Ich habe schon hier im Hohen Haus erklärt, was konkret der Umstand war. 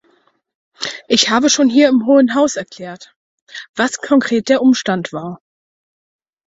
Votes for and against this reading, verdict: 4, 0, accepted